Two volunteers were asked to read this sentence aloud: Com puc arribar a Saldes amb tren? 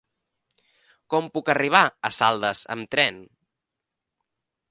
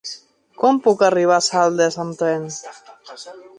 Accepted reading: first